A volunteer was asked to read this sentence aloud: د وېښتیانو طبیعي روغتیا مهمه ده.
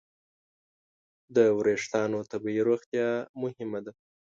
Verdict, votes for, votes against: accepted, 2, 0